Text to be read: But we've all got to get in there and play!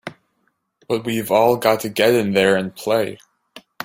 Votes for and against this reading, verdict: 3, 0, accepted